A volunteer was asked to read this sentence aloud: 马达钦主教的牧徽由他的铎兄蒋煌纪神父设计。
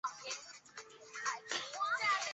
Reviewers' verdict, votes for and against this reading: rejected, 0, 2